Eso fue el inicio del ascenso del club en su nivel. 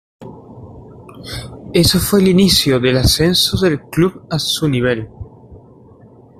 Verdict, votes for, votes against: rejected, 1, 2